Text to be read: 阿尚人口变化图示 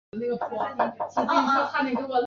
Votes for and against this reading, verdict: 0, 4, rejected